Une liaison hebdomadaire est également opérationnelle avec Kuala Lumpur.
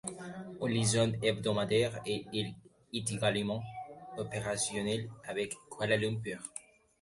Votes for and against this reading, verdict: 2, 0, accepted